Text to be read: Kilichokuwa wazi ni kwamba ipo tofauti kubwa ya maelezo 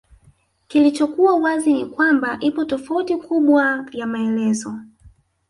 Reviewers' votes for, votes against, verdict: 1, 2, rejected